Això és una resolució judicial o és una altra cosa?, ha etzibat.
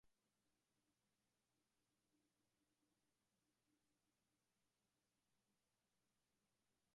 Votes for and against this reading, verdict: 0, 2, rejected